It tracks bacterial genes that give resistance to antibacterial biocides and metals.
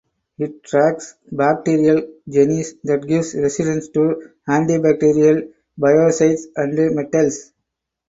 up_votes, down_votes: 0, 4